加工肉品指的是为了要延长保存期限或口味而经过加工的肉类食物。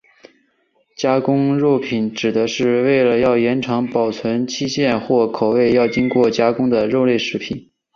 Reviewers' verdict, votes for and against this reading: accepted, 5, 0